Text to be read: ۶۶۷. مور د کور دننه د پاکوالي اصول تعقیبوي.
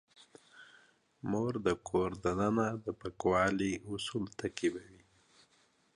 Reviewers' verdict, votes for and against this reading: rejected, 0, 2